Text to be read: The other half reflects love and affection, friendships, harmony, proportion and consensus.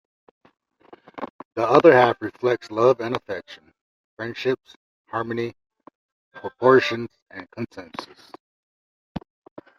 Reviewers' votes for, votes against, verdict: 2, 0, accepted